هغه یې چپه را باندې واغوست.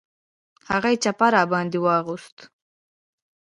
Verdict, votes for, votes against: rejected, 0, 2